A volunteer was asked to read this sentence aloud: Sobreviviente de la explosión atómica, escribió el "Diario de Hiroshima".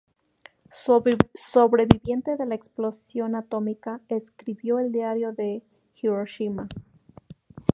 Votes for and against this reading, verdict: 0, 2, rejected